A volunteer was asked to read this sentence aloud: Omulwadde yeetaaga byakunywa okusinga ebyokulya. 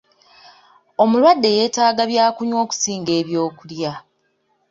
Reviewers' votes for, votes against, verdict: 2, 0, accepted